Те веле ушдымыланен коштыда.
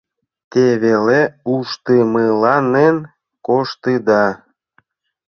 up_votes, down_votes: 2, 0